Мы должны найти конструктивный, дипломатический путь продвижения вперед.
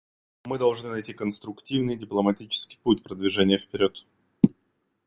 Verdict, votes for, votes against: accepted, 2, 0